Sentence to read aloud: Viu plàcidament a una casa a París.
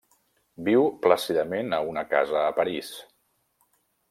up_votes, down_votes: 3, 0